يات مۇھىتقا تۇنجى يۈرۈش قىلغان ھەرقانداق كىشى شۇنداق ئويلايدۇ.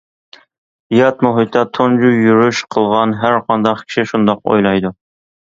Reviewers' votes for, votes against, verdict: 2, 1, accepted